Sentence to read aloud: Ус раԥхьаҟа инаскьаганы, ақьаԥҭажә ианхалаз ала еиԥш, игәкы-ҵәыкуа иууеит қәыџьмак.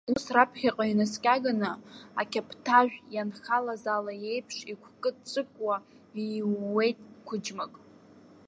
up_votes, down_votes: 0, 2